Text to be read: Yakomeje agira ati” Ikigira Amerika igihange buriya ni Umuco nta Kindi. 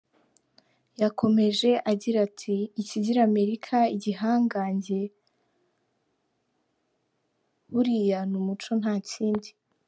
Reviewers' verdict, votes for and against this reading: accepted, 2, 1